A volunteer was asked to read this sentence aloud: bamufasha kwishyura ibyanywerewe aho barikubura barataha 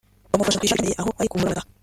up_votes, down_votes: 0, 2